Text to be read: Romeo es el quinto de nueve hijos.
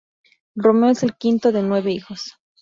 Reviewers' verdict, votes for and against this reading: accepted, 2, 0